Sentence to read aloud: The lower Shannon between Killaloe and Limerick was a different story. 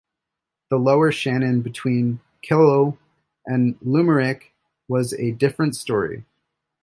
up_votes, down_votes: 0, 2